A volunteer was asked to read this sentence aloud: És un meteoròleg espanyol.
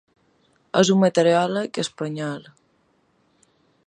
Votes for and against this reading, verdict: 2, 0, accepted